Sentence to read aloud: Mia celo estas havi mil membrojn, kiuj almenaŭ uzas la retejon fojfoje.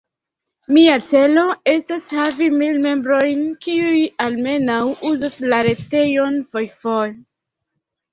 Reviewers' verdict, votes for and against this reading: accepted, 2, 0